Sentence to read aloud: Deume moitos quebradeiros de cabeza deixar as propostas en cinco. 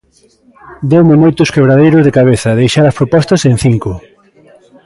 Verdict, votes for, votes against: rejected, 1, 2